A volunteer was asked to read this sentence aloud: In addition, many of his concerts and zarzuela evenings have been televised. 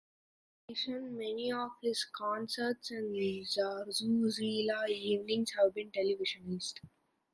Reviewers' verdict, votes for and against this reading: rejected, 1, 2